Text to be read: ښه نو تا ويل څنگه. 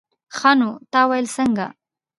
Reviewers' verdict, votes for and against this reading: rejected, 1, 2